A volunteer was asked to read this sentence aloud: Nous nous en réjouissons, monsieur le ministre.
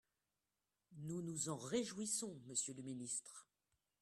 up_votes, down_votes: 2, 1